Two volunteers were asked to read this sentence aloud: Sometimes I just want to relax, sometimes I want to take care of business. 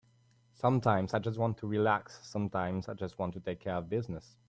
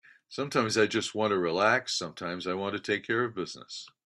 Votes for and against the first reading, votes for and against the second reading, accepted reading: 1, 2, 2, 0, second